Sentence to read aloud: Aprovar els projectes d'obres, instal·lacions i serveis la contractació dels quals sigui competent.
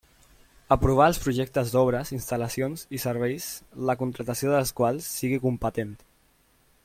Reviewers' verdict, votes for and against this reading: accepted, 3, 0